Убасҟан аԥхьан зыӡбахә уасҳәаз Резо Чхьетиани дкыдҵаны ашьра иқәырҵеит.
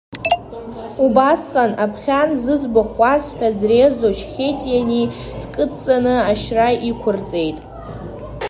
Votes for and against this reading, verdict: 1, 2, rejected